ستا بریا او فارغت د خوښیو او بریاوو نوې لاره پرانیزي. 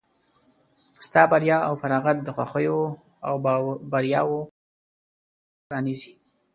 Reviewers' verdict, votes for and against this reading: rejected, 0, 2